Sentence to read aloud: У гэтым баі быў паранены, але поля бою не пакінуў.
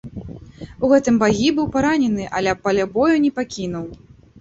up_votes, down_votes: 0, 2